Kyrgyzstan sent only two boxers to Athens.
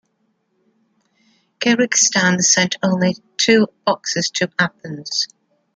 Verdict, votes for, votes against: accepted, 2, 1